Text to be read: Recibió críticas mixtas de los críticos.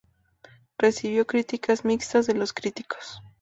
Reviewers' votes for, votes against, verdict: 2, 0, accepted